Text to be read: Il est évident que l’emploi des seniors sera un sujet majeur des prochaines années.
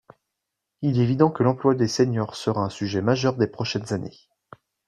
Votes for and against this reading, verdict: 2, 0, accepted